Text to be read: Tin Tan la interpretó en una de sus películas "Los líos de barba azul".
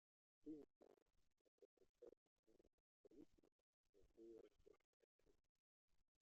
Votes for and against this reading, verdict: 0, 2, rejected